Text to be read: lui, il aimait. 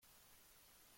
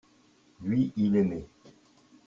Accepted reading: second